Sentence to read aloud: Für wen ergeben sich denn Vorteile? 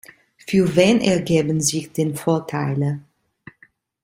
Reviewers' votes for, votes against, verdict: 1, 2, rejected